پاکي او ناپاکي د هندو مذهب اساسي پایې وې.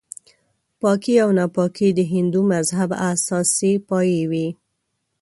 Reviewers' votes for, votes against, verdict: 7, 0, accepted